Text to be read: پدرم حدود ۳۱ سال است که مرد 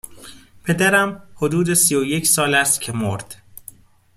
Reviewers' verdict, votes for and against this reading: rejected, 0, 2